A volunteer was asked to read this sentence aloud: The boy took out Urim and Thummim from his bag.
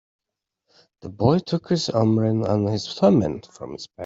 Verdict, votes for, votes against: rejected, 1, 2